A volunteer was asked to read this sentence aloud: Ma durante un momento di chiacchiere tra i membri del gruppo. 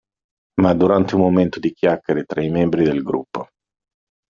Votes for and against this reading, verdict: 2, 0, accepted